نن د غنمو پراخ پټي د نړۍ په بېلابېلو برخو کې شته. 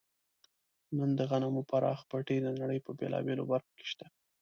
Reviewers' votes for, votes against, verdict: 2, 0, accepted